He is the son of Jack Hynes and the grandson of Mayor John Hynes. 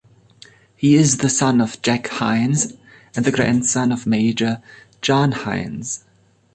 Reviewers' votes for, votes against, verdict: 1, 2, rejected